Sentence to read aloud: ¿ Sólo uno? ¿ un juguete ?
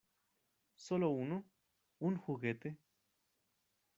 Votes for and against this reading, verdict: 0, 2, rejected